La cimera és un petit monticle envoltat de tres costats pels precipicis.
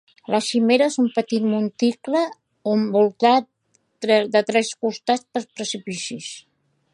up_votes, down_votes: 0, 2